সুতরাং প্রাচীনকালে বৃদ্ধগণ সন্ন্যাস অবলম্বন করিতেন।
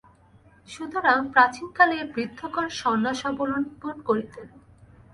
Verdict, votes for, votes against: rejected, 0, 2